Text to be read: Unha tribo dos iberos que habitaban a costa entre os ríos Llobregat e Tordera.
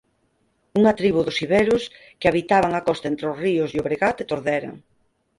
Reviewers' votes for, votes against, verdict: 4, 0, accepted